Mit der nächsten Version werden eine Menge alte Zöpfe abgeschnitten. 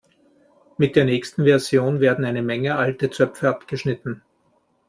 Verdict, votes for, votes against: accepted, 2, 0